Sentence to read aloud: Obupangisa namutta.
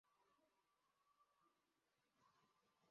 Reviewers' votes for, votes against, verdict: 0, 2, rejected